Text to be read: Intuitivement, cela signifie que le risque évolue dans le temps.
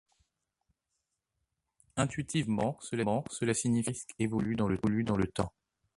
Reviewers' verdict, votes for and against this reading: rejected, 0, 2